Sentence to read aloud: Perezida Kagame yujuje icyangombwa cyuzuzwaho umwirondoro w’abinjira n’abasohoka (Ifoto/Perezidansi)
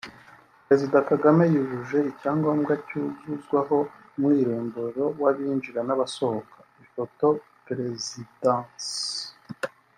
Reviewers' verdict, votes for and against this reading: accepted, 2, 0